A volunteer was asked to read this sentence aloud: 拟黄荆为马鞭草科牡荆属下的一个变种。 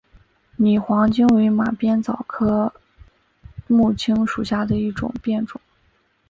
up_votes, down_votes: 0, 3